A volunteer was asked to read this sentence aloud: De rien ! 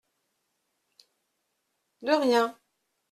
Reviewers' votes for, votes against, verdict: 2, 0, accepted